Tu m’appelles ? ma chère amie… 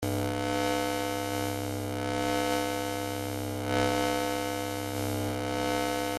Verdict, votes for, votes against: rejected, 0, 2